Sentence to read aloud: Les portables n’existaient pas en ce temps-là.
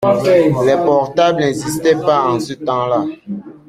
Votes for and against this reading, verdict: 2, 0, accepted